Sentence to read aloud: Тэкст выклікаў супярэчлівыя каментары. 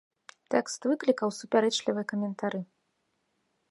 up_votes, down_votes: 2, 1